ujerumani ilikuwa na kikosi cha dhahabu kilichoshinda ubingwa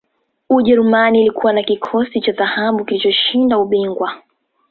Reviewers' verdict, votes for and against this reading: rejected, 0, 2